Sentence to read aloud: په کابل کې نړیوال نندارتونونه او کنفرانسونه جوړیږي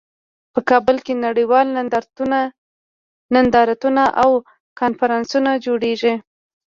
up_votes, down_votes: 2, 0